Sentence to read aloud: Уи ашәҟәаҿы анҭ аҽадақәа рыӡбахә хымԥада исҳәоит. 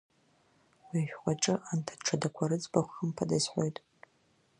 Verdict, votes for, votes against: rejected, 1, 2